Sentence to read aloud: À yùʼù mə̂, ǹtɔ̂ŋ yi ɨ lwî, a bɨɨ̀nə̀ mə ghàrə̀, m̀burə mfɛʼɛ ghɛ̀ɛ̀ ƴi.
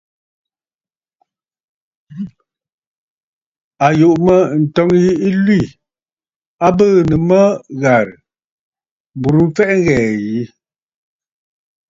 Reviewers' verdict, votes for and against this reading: accepted, 2, 0